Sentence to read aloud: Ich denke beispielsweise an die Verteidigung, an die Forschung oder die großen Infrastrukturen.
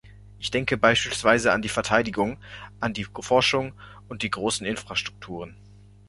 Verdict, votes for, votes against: rejected, 1, 2